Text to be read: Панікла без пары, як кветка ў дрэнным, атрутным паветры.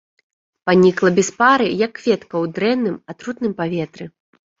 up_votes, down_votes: 1, 2